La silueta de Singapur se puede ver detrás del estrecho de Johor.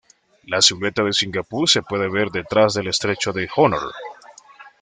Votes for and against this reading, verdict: 0, 2, rejected